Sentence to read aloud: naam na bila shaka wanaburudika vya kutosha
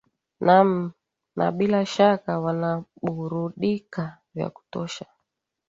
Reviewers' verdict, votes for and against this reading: accepted, 5, 0